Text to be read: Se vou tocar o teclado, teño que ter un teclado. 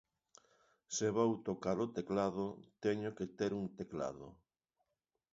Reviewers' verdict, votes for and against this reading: accepted, 2, 0